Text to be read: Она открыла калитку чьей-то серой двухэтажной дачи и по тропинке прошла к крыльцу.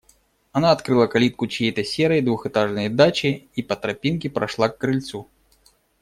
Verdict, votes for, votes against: accepted, 2, 0